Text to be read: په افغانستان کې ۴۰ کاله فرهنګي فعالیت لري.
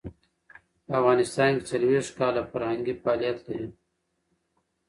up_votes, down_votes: 0, 2